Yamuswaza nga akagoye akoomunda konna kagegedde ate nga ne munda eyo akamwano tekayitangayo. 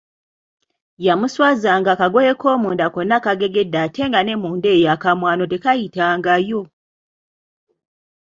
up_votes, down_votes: 2, 0